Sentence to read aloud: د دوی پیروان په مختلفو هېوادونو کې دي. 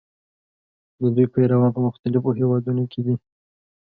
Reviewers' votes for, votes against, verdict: 2, 0, accepted